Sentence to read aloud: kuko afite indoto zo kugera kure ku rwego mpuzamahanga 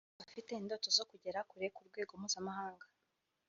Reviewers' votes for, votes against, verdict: 1, 2, rejected